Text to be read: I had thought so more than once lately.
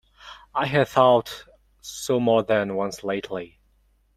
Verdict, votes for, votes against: rejected, 1, 2